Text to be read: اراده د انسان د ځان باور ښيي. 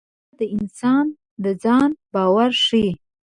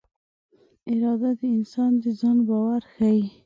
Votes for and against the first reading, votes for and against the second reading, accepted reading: 1, 2, 2, 0, second